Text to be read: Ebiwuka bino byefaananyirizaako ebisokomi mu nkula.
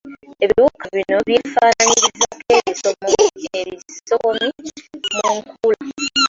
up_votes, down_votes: 2, 0